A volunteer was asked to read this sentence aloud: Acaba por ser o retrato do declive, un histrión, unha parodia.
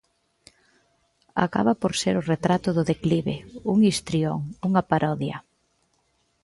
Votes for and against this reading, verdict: 2, 0, accepted